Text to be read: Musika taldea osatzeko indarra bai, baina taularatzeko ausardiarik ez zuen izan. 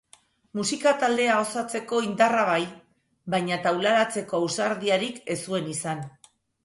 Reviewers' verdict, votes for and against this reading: accepted, 2, 0